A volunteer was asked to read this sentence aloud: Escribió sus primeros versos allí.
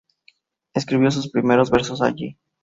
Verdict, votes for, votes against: accepted, 2, 0